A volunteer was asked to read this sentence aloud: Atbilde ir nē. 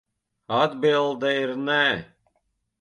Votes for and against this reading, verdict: 2, 0, accepted